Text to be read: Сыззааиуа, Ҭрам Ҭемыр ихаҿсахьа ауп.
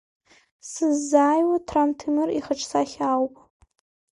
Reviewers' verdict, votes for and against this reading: accepted, 2, 0